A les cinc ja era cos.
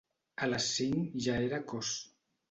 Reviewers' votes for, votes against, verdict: 2, 0, accepted